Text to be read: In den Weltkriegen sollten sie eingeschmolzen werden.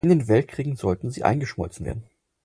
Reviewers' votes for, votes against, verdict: 4, 0, accepted